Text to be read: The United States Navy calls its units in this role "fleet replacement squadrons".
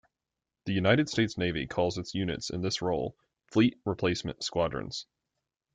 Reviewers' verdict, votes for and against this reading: accepted, 2, 1